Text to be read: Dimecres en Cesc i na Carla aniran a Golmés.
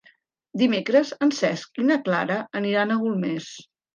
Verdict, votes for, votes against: rejected, 0, 2